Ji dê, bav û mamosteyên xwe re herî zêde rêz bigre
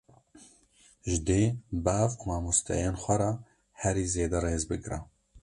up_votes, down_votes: 2, 0